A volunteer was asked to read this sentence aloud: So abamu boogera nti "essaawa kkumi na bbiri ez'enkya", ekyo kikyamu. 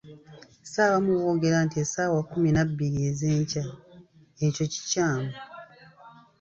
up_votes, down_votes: 1, 2